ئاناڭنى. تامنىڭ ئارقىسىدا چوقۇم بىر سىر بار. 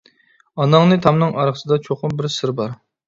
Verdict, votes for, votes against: accepted, 2, 0